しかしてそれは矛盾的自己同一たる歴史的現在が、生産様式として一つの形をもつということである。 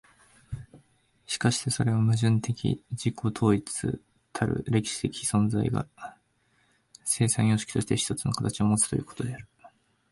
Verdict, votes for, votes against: rejected, 1, 2